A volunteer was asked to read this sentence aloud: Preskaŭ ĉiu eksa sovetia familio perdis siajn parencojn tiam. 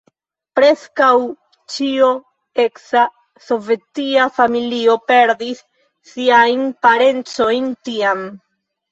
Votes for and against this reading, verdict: 0, 2, rejected